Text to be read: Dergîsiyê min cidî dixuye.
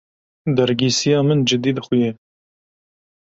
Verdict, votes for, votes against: rejected, 1, 2